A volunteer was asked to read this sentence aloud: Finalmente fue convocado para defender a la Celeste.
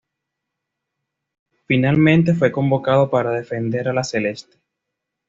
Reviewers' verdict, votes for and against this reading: accepted, 2, 0